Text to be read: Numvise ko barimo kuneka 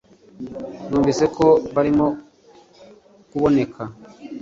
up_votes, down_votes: 0, 2